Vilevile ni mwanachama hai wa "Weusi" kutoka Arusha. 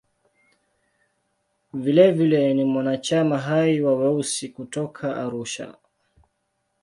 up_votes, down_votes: 2, 0